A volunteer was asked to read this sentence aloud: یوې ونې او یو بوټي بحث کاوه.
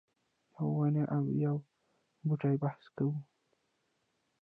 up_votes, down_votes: 0, 2